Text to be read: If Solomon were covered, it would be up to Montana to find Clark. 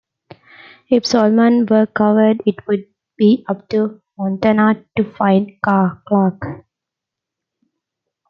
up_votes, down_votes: 0, 2